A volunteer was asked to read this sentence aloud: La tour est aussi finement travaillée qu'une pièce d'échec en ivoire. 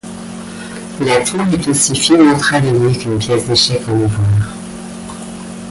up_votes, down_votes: 1, 2